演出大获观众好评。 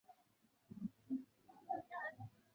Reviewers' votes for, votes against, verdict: 3, 1, accepted